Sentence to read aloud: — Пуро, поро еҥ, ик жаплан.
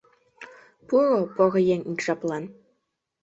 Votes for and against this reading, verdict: 1, 2, rejected